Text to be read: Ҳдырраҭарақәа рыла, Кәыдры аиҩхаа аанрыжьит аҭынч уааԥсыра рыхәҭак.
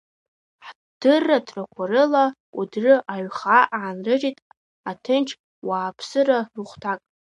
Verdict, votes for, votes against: rejected, 0, 2